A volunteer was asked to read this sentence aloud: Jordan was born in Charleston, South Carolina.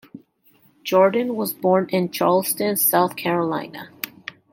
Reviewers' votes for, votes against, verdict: 2, 0, accepted